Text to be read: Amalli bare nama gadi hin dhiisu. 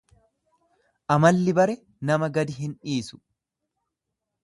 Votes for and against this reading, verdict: 2, 0, accepted